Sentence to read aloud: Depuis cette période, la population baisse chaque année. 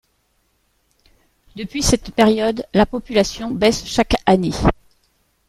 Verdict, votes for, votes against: accepted, 2, 0